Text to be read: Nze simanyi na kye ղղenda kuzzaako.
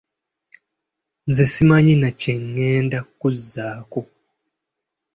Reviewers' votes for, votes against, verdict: 2, 0, accepted